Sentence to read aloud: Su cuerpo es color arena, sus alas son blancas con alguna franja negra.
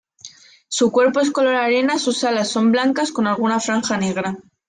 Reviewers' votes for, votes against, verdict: 2, 0, accepted